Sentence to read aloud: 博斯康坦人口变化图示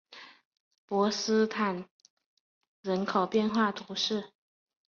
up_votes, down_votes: 5, 0